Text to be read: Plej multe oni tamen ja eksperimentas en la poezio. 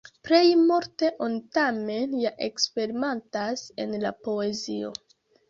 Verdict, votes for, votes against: rejected, 1, 3